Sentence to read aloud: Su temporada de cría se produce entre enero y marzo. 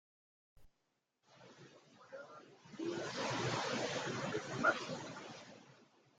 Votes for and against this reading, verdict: 0, 2, rejected